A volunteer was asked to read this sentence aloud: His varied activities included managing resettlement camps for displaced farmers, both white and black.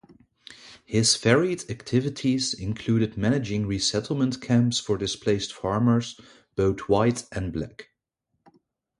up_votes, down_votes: 2, 0